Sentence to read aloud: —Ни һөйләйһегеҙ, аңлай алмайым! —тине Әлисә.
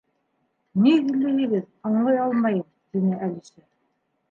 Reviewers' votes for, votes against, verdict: 2, 0, accepted